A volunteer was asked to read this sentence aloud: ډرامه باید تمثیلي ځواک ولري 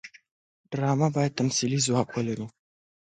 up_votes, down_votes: 2, 1